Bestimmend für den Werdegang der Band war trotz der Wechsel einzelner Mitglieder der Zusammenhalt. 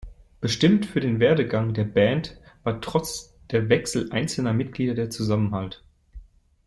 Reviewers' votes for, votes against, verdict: 1, 2, rejected